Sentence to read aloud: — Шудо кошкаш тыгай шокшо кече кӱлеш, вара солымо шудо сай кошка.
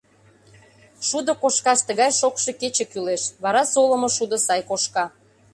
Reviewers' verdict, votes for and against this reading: accepted, 2, 0